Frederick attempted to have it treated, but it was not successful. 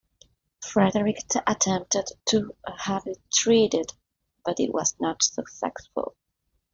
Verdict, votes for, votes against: rejected, 0, 2